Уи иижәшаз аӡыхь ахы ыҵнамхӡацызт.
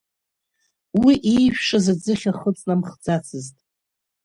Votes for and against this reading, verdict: 4, 3, accepted